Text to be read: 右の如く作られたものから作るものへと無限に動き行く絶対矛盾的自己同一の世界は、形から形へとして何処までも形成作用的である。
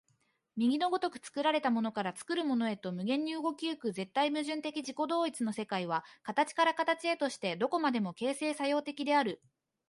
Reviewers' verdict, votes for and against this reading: accepted, 2, 0